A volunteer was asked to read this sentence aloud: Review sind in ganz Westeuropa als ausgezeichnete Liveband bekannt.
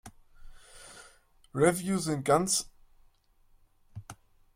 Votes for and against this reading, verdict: 0, 2, rejected